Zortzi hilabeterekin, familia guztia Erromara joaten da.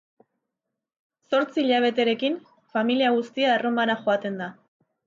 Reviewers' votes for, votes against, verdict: 3, 0, accepted